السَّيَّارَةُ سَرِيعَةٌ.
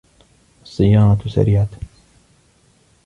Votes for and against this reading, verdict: 2, 0, accepted